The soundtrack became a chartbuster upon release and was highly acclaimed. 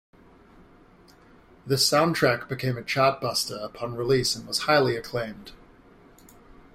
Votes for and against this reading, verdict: 2, 0, accepted